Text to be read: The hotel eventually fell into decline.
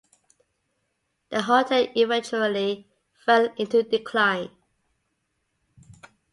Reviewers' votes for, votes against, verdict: 2, 0, accepted